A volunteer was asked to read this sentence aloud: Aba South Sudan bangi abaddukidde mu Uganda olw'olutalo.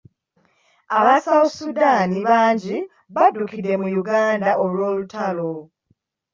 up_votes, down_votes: 1, 2